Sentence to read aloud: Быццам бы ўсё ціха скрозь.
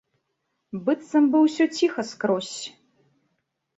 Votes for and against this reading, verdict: 2, 0, accepted